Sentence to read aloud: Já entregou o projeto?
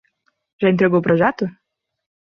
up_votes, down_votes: 2, 0